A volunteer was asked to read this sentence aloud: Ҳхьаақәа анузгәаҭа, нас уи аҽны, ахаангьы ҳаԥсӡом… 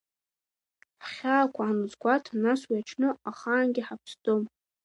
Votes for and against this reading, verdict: 2, 0, accepted